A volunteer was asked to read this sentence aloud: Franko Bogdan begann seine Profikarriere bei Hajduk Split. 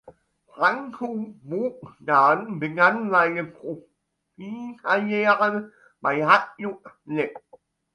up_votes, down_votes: 2, 1